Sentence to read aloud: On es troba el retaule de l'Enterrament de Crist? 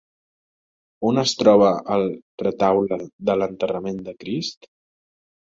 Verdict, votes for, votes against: accepted, 2, 0